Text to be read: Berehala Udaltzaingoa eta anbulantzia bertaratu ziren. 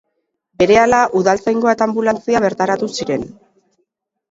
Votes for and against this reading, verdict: 2, 0, accepted